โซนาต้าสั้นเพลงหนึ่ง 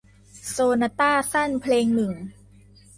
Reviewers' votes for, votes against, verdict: 2, 0, accepted